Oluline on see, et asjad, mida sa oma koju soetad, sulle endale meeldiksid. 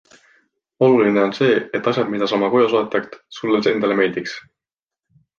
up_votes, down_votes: 2, 1